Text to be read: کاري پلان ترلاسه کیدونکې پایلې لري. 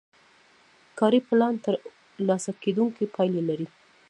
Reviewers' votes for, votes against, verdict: 0, 2, rejected